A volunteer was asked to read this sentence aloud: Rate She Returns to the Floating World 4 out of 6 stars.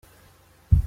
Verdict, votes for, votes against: rejected, 0, 2